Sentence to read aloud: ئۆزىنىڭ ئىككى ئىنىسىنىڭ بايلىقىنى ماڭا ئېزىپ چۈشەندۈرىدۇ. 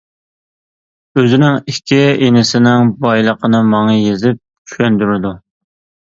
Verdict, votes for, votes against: rejected, 1, 2